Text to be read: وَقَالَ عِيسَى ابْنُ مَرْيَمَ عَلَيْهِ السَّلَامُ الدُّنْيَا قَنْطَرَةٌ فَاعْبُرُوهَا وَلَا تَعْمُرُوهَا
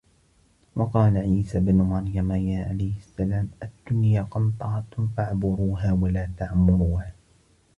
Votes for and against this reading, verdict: 1, 2, rejected